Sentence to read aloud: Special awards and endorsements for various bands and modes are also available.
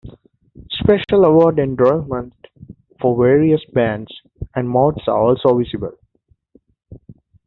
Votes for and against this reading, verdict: 0, 2, rejected